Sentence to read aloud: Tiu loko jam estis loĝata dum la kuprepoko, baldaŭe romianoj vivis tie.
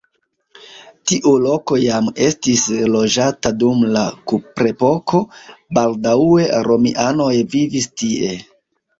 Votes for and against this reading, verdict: 0, 2, rejected